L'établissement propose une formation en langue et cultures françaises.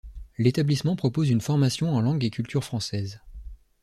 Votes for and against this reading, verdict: 2, 0, accepted